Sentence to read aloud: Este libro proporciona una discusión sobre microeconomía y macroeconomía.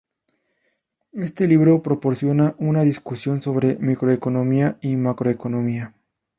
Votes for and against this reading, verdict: 2, 0, accepted